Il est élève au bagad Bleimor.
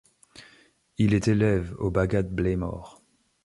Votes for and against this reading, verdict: 2, 0, accepted